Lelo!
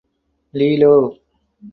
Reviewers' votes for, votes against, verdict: 4, 0, accepted